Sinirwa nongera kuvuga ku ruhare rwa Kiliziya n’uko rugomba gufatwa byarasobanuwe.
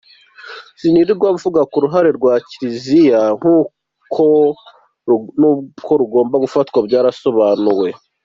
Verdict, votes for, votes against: rejected, 0, 2